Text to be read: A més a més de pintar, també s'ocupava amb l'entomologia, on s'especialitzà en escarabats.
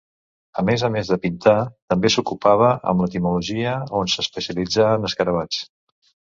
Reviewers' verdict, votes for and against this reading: rejected, 0, 2